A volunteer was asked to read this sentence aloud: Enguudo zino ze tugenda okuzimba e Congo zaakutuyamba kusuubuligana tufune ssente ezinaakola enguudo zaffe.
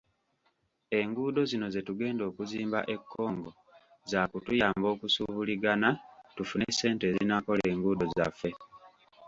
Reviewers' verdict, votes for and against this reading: accepted, 2, 0